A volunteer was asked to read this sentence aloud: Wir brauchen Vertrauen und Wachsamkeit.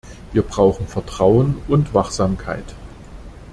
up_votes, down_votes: 2, 0